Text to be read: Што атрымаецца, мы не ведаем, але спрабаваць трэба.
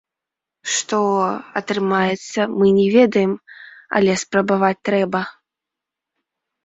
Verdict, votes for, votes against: rejected, 1, 2